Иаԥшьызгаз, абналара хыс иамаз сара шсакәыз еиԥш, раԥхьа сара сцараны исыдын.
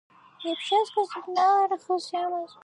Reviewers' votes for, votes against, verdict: 0, 2, rejected